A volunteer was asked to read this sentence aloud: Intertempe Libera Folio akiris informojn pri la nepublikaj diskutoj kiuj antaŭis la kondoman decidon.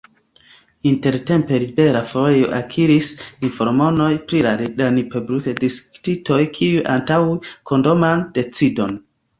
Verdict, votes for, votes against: rejected, 1, 2